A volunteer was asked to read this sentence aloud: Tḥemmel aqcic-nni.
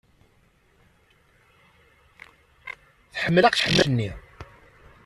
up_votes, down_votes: 1, 2